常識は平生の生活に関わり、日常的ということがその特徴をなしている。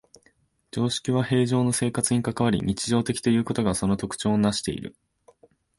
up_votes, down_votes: 5, 0